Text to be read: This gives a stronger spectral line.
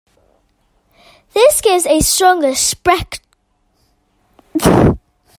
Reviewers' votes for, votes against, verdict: 0, 2, rejected